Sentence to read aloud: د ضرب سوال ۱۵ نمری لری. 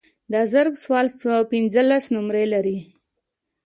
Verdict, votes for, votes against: rejected, 0, 2